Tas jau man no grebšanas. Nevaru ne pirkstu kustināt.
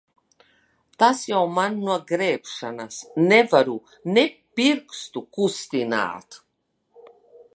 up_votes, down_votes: 1, 2